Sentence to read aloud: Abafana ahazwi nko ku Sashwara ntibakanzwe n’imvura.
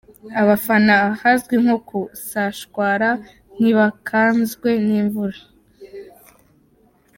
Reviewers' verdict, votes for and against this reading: accepted, 2, 1